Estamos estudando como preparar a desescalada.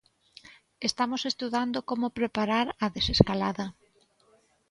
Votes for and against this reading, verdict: 2, 0, accepted